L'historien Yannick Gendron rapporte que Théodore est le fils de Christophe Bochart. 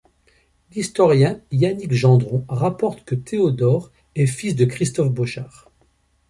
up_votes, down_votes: 1, 2